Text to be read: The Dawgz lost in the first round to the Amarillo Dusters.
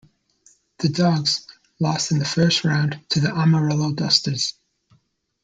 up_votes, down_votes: 1, 2